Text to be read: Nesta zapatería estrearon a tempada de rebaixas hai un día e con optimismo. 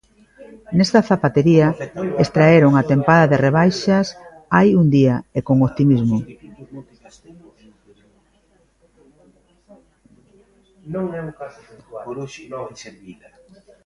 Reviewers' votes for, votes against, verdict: 0, 3, rejected